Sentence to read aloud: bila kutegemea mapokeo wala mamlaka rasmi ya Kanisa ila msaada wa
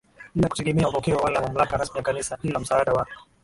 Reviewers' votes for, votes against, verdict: 1, 2, rejected